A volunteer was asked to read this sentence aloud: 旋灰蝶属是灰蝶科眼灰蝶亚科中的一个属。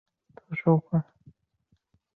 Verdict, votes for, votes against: rejected, 3, 4